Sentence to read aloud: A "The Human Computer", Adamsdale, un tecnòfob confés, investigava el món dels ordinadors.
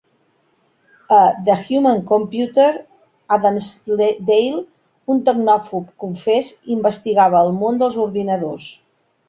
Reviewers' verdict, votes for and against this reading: rejected, 1, 2